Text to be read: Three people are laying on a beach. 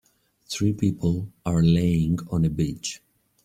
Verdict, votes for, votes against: accepted, 2, 0